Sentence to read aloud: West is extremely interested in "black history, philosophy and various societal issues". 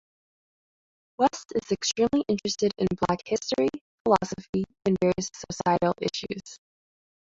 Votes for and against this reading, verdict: 0, 2, rejected